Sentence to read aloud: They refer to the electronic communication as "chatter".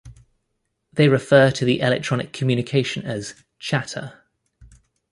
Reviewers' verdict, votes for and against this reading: rejected, 1, 2